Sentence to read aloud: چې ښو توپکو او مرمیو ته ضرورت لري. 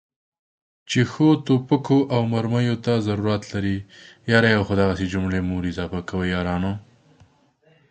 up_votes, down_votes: 0, 2